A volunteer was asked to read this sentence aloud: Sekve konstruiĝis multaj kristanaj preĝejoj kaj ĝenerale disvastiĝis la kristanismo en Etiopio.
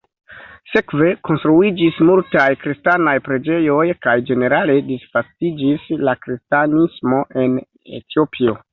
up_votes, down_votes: 1, 2